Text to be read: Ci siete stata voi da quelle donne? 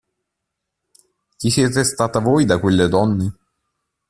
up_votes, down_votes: 1, 2